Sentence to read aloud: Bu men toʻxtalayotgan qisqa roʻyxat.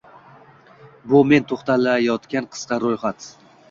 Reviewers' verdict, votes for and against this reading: accepted, 2, 0